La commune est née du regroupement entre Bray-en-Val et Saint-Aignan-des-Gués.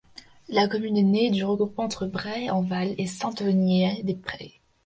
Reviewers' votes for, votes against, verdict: 0, 2, rejected